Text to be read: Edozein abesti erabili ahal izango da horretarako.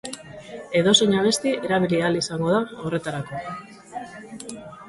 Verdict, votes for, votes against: accepted, 2, 0